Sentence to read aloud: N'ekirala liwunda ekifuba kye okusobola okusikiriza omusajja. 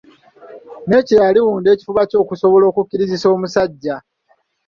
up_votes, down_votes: 0, 2